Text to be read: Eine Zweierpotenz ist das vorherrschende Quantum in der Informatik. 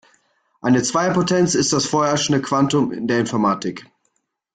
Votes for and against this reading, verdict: 2, 1, accepted